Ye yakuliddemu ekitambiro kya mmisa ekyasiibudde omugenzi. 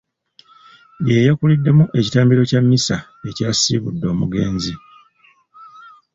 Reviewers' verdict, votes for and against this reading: accepted, 2, 0